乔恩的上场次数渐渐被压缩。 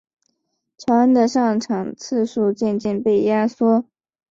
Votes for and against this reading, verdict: 2, 0, accepted